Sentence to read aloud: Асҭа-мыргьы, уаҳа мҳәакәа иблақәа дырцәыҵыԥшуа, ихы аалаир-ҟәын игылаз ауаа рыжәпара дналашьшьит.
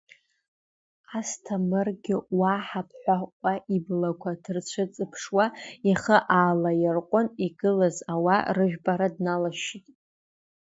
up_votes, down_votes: 2, 1